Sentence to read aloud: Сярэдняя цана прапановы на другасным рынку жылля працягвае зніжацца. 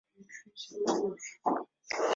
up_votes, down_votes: 0, 2